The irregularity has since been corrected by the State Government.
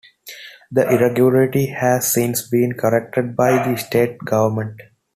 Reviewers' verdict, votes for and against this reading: accepted, 2, 0